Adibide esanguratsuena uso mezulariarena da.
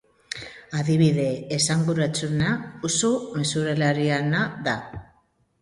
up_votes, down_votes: 0, 2